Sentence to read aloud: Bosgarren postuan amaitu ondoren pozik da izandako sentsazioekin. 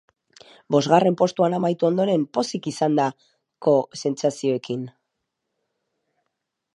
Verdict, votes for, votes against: rejected, 0, 4